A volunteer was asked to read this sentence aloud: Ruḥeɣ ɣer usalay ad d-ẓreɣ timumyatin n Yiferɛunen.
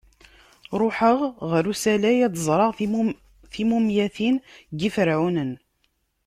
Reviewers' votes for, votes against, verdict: 1, 2, rejected